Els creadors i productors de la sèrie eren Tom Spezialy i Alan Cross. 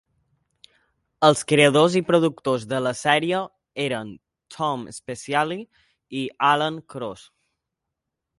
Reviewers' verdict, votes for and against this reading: accepted, 2, 0